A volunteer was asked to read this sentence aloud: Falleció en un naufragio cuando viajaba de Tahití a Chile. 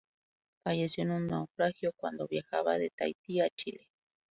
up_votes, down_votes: 0, 2